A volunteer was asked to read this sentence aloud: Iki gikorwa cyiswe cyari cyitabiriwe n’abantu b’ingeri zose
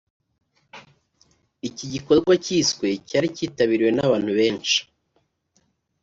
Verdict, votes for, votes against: rejected, 0, 2